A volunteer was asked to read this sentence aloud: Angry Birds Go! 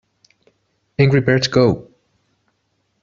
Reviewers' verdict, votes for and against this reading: rejected, 0, 2